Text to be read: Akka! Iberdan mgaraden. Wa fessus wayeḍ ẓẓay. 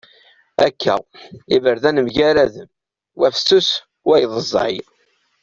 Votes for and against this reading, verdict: 2, 1, accepted